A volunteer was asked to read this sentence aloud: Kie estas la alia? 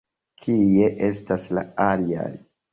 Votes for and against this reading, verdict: 1, 2, rejected